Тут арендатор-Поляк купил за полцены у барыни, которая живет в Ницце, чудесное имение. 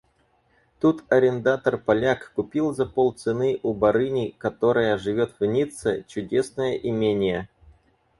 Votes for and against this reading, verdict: 2, 4, rejected